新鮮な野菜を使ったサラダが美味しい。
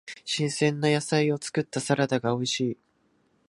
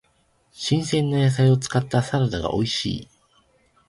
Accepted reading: second